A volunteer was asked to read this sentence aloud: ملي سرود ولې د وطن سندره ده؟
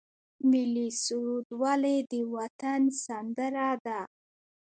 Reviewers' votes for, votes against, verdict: 2, 0, accepted